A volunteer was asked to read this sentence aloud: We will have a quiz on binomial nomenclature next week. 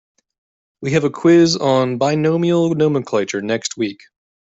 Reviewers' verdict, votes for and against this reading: rejected, 0, 2